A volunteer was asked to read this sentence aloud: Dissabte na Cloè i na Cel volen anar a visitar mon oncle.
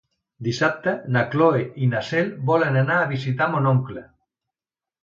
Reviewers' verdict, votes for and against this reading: accepted, 2, 0